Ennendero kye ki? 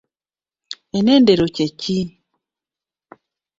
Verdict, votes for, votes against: rejected, 0, 2